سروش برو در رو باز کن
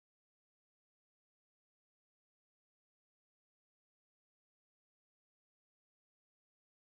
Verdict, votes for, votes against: rejected, 0, 2